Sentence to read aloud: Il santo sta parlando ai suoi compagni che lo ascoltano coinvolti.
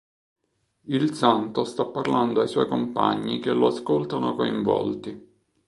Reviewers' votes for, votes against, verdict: 2, 0, accepted